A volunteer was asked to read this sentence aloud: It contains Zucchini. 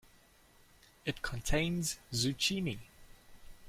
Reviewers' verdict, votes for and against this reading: accepted, 2, 1